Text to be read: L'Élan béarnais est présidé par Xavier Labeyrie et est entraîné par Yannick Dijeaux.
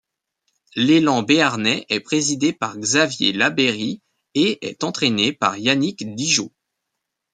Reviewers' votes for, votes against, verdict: 2, 0, accepted